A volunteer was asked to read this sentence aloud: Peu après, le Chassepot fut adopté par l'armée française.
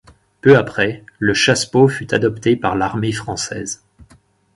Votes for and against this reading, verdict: 4, 0, accepted